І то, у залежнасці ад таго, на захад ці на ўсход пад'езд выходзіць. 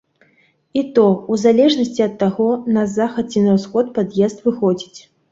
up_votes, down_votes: 2, 0